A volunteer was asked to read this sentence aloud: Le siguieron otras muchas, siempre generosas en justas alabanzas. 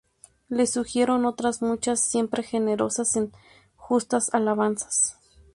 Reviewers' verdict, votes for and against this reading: rejected, 0, 2